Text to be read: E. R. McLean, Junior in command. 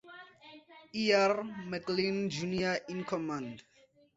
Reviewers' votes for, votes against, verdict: 4, 0, accepted